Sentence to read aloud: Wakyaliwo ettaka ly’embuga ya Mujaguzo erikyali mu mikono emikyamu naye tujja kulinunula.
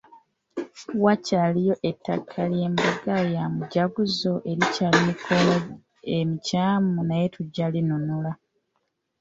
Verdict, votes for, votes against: rejected, 1, 2